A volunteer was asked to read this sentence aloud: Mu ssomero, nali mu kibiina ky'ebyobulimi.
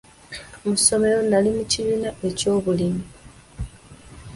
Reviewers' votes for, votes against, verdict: 1, 2, rejected